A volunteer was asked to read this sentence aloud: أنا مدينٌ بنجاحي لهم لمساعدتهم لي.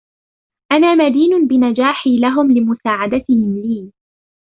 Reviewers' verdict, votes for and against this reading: accepted, 2, 0